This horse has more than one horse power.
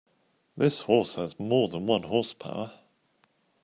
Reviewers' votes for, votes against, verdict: 3, 0, accepted